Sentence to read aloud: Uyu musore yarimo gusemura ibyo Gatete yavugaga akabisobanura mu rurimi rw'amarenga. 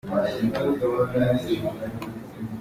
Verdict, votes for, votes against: rejected, 0, 3